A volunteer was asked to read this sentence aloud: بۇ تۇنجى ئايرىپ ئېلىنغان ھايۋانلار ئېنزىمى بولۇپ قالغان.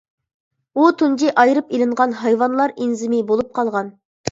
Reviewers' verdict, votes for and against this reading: accepted, 2, 0